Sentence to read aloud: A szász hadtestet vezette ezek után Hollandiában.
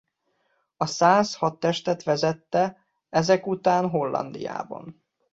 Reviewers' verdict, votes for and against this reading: accepted, 2, 0